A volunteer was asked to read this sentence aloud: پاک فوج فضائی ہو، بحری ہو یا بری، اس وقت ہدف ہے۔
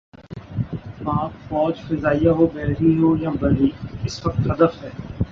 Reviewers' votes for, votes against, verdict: 0, 2, rejected